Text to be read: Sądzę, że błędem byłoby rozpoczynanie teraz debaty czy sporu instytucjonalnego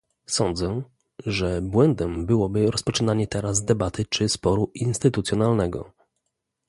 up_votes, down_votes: 2, 0